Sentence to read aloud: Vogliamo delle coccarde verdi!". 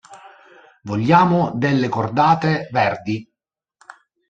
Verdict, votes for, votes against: rejected, 0, 2